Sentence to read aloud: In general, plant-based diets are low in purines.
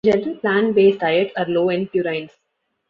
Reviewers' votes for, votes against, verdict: 0, 2, rejected